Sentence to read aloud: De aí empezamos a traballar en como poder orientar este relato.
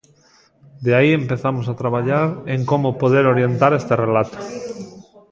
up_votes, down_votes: 1, 2